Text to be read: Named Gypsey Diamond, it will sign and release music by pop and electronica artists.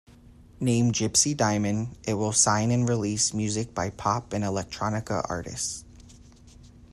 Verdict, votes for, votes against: accepted, 2, 0